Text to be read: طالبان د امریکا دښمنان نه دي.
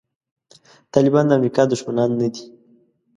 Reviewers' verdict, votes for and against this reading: accepted, 2, 0